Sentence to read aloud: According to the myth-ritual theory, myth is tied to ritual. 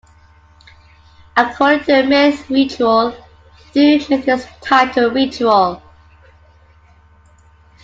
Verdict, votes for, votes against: rejected, 1, 2